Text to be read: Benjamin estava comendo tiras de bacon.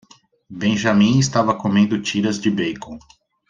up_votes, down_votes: 2, 0